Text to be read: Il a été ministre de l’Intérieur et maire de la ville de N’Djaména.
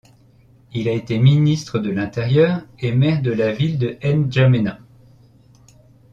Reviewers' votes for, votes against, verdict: 2, 0, accepted